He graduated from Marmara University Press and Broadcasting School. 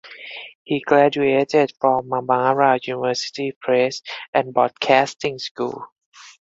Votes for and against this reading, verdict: 4, 0, accepted